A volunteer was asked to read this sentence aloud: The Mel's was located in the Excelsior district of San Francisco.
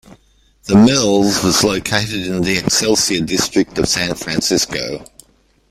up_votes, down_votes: 1, 2